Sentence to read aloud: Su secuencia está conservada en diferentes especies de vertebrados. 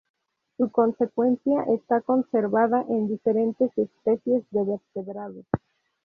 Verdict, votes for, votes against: rejected, 0, 2